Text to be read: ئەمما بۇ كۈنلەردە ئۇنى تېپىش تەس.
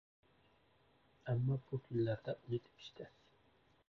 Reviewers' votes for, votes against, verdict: 0, 2, rejected